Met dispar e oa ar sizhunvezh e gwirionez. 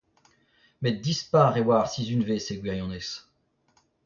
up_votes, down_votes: 0, 2